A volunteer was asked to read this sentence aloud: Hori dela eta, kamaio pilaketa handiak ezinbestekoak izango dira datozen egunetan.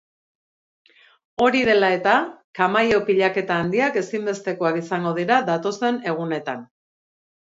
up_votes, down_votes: 2, 0